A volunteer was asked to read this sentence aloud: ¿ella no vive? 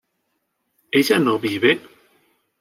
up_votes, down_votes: 2, 0